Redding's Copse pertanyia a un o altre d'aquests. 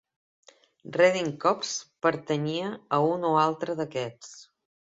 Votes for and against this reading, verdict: 2, 0, accepted